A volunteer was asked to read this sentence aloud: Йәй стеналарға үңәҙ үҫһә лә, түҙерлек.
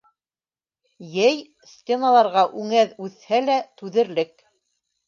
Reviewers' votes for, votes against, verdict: 2, 0, accepted